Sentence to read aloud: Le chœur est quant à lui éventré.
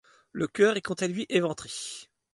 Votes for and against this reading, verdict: 2, 0, accepted